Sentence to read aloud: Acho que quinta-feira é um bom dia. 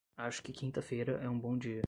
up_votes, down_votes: 10, 0